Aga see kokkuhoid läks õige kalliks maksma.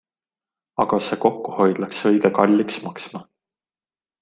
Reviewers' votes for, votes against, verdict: 2, 0, accepted